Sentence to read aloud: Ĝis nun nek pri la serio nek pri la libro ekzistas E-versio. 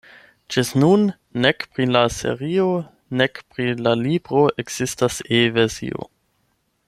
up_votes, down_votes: 4, 8